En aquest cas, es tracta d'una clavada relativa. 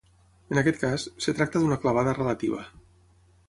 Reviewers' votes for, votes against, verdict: 3, 6, rejected